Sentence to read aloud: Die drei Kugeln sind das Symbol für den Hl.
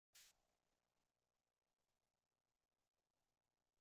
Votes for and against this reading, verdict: 0, 2, rejected